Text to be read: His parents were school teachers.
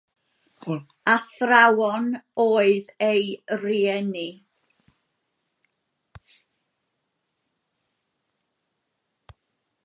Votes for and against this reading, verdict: 0, 2, rejected